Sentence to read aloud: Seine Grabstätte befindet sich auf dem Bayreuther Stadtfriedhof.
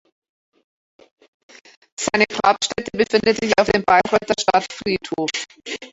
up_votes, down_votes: 0, 3